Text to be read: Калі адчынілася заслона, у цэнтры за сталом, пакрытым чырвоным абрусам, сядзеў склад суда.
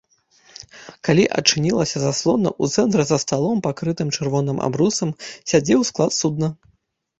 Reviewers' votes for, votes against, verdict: 1, 2, rejected